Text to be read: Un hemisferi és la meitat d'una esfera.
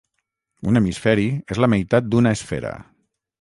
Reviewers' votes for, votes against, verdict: 6, 0, accepted